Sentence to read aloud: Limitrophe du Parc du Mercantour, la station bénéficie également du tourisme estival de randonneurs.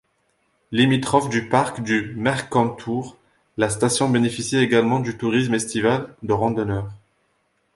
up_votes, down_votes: 2, 0